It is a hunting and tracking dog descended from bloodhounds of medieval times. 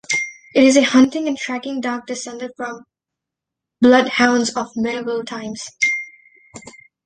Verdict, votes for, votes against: accepted, 2, 0